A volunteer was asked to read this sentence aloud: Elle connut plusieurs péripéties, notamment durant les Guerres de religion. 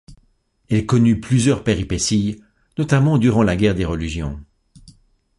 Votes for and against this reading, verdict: 1, 2, rejected